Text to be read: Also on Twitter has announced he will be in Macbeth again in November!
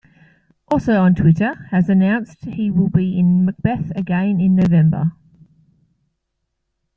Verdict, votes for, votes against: accepted, 2, 0